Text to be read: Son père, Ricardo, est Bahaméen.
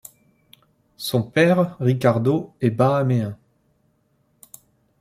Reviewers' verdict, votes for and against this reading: accepted, 2, 0